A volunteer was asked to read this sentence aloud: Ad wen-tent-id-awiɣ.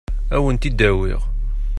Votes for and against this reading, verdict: 0, 2, rejected